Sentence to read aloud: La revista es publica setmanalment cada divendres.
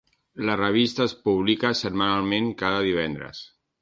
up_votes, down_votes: 3, 0